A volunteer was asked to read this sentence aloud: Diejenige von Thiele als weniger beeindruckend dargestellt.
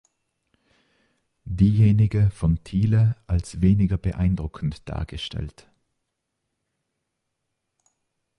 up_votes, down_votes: 2, 0